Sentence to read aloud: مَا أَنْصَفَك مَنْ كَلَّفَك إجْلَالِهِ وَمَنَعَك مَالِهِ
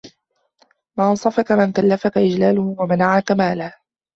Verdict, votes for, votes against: rejected, 1, 2